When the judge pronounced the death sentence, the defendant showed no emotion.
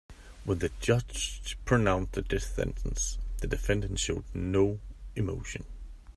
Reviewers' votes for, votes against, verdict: 1, 2, rejected